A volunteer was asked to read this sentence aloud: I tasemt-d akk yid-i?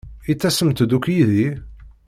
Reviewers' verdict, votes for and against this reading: accepted, 2, 0